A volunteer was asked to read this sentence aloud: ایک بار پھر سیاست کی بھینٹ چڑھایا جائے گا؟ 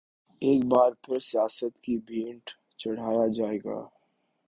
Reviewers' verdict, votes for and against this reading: accepted, 2, 0